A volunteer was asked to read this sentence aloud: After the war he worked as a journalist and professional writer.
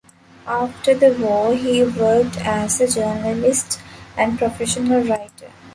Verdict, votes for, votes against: accepted, 2, 0